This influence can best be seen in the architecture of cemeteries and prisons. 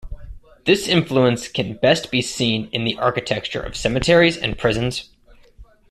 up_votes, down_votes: 1, 2